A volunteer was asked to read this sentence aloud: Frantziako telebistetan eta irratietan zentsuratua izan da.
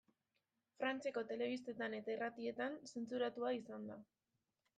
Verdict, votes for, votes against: rejected, 0, 2